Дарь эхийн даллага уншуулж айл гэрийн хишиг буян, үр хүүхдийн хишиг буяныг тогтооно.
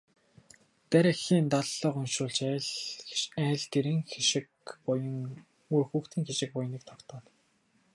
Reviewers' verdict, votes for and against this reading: rejected, 2, 4